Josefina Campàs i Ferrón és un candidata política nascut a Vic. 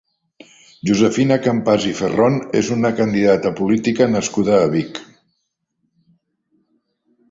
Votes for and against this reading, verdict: 2, 0, accepted